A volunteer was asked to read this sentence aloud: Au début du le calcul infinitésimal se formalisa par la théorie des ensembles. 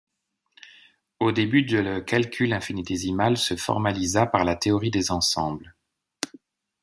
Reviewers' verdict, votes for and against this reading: rejected, 1, 2